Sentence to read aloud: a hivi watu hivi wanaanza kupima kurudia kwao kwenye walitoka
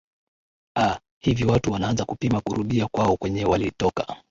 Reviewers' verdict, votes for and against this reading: accepted, 12, 3